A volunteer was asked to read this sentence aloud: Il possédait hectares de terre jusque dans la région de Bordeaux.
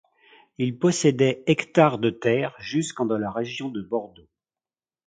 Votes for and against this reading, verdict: 0, 2, rejected